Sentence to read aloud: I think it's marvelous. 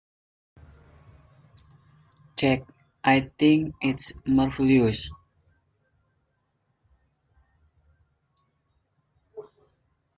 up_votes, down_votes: 1, 2